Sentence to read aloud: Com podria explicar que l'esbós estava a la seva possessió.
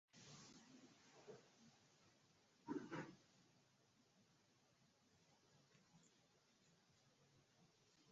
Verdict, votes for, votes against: rejected, 0, 2